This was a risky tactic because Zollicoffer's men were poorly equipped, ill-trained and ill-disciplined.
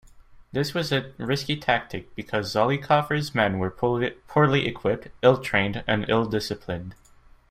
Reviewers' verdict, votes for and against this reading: rejected, 1, 2